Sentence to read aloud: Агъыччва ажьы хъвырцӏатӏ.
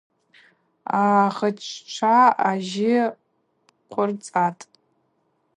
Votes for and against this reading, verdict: 2, 0, accepted